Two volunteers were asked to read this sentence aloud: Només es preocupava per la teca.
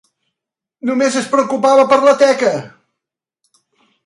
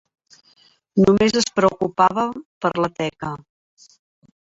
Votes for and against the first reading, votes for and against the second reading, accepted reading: 3, 0, 1, 2, first